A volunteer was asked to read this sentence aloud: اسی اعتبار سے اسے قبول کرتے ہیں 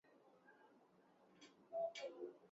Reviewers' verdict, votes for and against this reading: rejected, 0, 3